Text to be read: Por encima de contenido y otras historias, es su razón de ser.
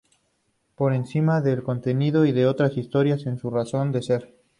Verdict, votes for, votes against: accepted, 2, 0